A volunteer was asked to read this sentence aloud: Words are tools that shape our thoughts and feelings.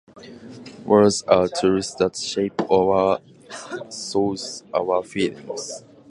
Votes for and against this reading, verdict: 15, 15, rejected